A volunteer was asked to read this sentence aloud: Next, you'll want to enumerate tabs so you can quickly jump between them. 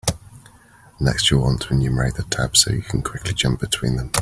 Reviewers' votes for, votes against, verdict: 2, 3, rejected